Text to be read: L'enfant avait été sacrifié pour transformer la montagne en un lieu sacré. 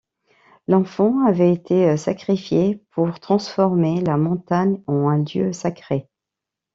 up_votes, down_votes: 1, 2